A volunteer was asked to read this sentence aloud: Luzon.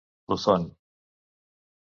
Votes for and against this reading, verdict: 1, 2, rejected